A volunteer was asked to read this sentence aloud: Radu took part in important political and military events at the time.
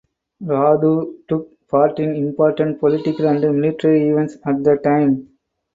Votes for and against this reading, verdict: 4, 0, accepted